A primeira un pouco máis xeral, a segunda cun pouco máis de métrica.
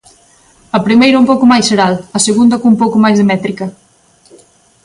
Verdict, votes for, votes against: accepted, 2, 0